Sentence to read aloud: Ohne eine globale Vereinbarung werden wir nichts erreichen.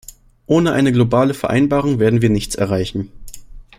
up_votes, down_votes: 2, 0